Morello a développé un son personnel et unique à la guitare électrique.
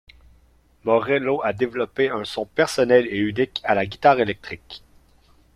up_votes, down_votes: 0, 2